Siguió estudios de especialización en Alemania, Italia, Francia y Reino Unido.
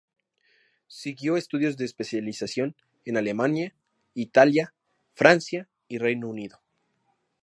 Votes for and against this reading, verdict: 2, 0, accepted